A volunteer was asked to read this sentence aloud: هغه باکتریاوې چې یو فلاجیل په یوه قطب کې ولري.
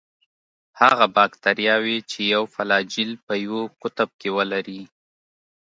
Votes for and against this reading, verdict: 2, 0, accepted